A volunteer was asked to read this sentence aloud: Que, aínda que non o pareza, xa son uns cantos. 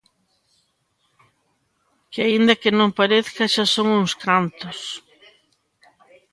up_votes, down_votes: 1, 2